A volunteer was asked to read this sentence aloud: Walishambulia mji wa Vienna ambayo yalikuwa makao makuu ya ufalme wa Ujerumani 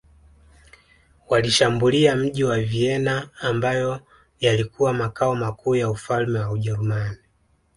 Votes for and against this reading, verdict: 2, 0, accepted